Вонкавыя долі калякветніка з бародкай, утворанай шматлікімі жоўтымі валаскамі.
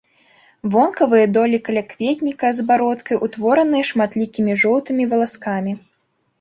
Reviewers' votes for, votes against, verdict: 2, 0, accepted